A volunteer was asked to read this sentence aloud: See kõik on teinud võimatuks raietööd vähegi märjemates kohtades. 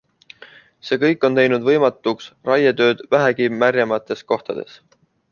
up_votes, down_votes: 2, 0